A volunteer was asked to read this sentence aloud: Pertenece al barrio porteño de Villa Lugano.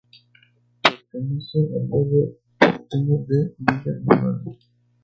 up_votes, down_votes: 0, 4